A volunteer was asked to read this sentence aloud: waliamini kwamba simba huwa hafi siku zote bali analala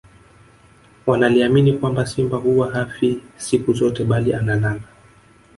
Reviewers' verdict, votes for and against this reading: rejected, 0, 2